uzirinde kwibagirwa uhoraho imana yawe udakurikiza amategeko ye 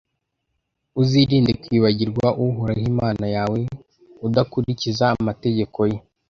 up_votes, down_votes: 2, 0